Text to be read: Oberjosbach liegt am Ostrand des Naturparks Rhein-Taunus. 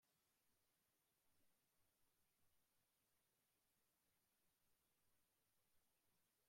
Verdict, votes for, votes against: rejected, 0, 2